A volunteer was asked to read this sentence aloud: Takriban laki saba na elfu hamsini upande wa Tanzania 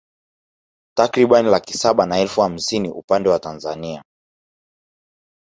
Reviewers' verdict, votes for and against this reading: rejected, 1, 2